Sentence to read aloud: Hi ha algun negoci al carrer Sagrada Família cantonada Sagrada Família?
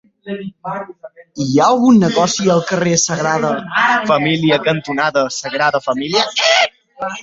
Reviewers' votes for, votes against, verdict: 0, 2, rejected